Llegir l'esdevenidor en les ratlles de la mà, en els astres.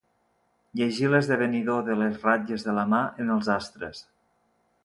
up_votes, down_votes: 0, 2